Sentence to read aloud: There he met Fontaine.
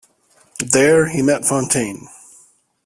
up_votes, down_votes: 2, 0